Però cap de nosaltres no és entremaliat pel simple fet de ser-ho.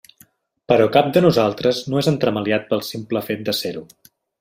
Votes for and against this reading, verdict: 3, 0, accepted